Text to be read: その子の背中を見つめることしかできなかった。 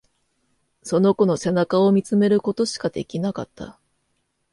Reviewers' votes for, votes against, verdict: 2, 0, accepted